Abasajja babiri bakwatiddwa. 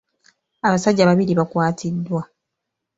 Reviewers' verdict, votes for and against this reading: accepted, 2, 0